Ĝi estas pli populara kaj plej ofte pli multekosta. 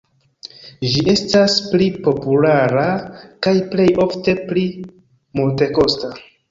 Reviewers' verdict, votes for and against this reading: accepted, 2, 0